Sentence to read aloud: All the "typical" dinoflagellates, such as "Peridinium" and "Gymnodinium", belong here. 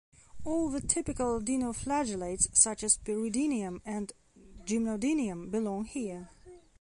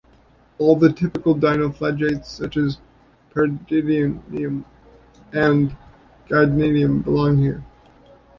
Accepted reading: first